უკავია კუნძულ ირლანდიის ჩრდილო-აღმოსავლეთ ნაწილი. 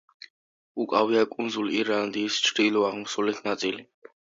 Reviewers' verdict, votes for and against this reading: accepted, 3, 1